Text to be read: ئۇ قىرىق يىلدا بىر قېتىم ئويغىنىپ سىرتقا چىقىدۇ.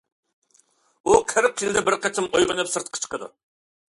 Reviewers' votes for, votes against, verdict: 2, 0, accepted